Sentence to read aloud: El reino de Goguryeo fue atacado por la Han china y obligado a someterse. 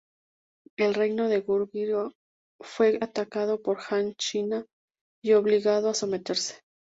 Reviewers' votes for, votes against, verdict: 0, 2, rejected